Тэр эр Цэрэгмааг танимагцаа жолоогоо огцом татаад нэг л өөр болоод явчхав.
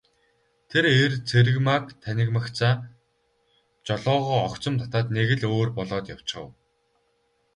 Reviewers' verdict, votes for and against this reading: rejected, 0, 2